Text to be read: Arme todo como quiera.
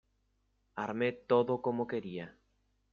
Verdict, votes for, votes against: rejected, 0, 2